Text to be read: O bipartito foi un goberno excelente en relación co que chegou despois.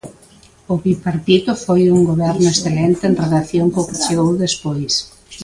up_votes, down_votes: 0, 2